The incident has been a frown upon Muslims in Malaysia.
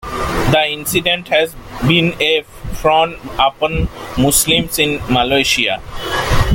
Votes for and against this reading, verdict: 2, 1, accepted